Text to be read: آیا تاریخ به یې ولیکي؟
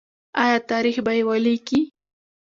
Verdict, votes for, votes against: accepted, 2, 0